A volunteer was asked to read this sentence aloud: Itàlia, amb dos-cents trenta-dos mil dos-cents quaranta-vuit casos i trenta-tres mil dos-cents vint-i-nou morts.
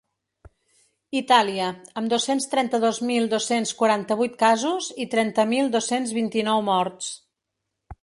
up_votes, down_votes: 0, 2